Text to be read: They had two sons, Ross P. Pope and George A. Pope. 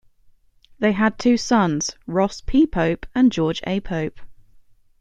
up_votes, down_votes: 2, 1